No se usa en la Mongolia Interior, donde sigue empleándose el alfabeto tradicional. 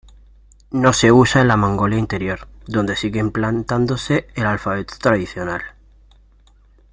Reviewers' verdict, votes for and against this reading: rejected, 0, 2